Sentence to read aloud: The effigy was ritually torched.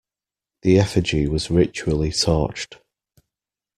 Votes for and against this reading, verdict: 2, 0, accepted